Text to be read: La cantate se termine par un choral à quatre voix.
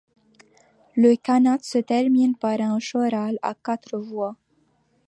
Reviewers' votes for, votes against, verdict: 1, 2, rejected